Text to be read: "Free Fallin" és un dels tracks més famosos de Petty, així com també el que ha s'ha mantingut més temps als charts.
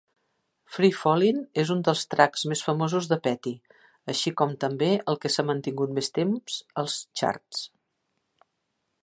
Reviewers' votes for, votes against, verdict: 2, 1, accepted